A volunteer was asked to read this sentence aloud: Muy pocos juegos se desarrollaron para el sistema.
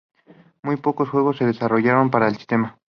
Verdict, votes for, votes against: accepted, 2, 0